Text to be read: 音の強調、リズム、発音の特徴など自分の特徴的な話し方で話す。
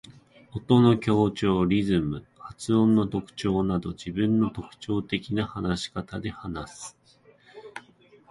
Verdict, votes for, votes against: accepted, 2, 0